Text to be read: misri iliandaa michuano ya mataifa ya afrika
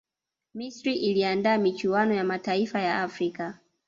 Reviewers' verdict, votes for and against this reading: rejected, 0, 2